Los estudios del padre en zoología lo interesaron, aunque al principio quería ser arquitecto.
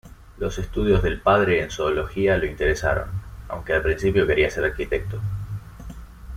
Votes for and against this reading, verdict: 2, 0, accepted